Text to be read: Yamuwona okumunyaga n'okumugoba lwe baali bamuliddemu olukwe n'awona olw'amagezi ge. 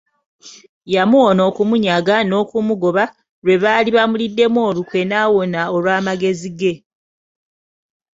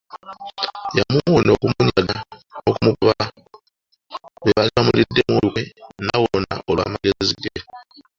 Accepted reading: first